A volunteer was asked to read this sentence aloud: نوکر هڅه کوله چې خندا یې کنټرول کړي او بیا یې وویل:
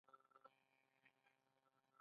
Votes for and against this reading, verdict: 2, 0, accepted